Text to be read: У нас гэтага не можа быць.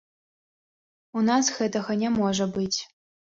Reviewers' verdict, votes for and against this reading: accepted, 2, 0